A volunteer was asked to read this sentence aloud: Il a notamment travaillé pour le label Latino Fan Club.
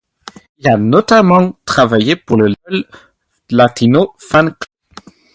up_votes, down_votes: 0, 2